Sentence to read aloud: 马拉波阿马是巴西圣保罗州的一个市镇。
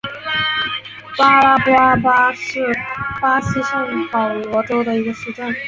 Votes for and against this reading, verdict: 2, 3, rejected